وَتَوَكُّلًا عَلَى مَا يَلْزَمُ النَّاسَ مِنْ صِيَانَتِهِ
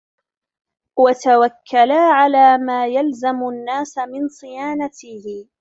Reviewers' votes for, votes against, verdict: 0, 2, rejected